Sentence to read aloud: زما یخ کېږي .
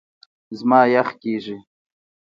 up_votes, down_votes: 2, 0